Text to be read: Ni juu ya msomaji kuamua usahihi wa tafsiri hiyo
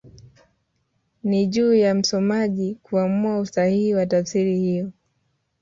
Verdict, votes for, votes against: rejected, 0, 2